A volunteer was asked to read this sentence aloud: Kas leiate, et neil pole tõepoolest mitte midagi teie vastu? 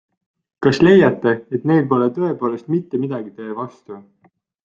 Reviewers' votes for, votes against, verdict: 2, 0, accepted